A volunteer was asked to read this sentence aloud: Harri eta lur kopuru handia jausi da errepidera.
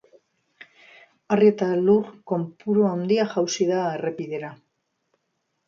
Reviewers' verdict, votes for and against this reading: rejected, 2, 3